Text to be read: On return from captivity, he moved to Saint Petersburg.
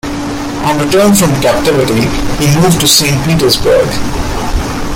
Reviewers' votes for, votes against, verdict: 2, 0, accepted